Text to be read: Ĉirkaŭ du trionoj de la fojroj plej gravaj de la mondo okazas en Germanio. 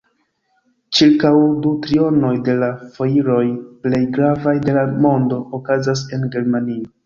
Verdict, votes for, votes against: rejected, 1, 2